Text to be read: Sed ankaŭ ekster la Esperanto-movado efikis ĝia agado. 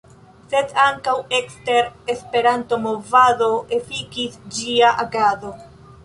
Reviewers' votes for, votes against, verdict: 1, 2, rejected